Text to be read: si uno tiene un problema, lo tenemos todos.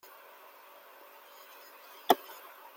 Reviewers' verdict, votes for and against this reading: rejected, 0, 2